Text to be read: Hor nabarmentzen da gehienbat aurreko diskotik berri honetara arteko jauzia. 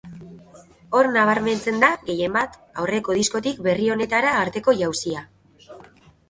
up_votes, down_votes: 2, 0